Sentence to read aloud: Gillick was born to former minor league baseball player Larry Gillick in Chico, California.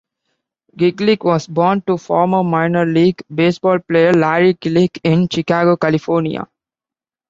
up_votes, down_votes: 0, 2